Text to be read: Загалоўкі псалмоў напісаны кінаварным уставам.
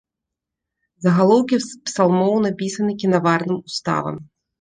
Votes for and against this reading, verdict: 2, 1, accepted